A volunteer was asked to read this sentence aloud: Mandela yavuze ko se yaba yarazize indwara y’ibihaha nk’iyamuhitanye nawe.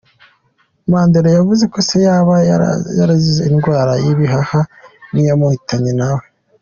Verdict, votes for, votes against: accepted, 2, 0